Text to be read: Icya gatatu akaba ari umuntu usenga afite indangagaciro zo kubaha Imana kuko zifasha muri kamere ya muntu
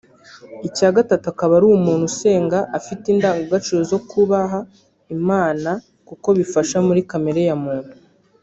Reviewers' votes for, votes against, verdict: 0, 2, rejected